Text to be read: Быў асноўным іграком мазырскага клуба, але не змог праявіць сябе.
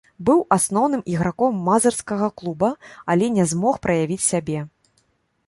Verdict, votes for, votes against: rejected, 0, 2